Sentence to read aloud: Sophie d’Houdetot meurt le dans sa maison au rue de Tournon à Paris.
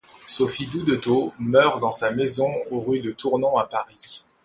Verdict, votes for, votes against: rejected, 0, 2